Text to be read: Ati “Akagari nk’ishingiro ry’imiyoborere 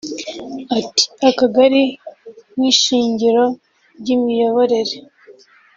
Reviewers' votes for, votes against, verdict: 2, 1, accepted